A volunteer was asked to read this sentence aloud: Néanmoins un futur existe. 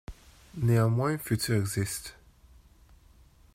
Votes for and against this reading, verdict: 2, 1, accepted